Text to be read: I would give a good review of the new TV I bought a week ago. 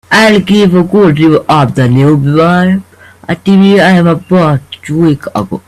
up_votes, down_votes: 0, 2